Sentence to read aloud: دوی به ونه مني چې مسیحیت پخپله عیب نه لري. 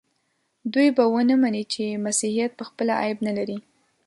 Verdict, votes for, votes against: accepted, 2, 0